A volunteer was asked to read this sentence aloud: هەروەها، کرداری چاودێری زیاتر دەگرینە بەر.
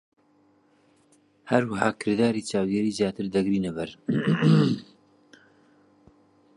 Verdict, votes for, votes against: rejected, 0, 2